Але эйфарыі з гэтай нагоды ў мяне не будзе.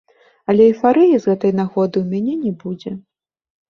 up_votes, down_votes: 1, 2